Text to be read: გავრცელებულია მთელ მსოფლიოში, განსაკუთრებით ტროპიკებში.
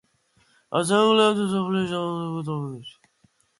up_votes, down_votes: 0, 2